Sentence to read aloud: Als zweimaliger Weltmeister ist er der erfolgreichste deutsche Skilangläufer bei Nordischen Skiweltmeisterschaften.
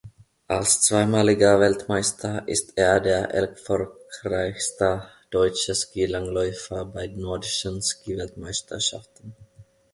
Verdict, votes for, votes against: rejected, 1, 2